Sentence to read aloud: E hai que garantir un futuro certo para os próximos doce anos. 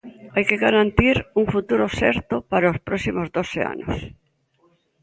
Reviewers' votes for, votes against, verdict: 0, 2, rejected